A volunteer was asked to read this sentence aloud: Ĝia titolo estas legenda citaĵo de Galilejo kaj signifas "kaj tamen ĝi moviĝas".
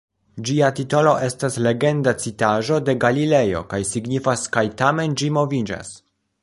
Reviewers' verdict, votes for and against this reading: rejected, 1, 2